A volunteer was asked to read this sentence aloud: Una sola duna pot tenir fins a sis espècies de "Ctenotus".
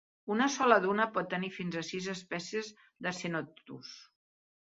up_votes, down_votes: 0, 2